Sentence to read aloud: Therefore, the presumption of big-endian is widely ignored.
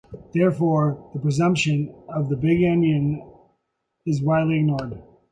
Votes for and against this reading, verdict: 2, 1, accepted